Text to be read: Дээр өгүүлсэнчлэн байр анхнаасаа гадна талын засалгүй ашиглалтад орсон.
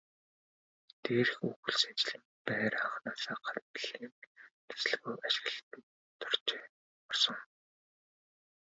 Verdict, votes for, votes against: rejected, 2, 2